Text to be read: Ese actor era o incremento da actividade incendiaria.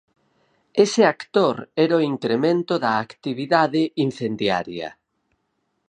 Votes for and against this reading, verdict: 4, 2, accepted